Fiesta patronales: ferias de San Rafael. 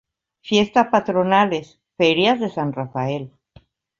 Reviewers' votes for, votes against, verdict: 2, 0, accepted